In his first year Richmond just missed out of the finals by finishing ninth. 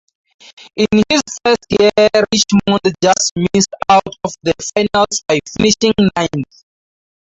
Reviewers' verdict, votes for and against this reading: rejected, 0, 4